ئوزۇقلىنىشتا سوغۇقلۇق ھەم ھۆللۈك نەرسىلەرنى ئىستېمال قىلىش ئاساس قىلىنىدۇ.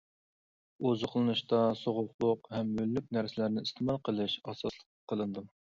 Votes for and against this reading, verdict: 1, 2, rejected